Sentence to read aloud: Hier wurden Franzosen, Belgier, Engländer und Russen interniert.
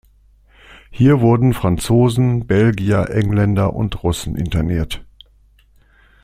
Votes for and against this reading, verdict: 2, 0, accepted